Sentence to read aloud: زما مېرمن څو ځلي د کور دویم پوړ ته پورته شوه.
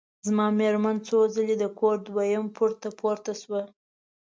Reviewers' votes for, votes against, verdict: 2, 0, accepted